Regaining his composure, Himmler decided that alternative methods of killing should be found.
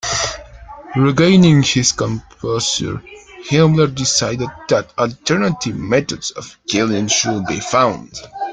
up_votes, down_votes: 2, 0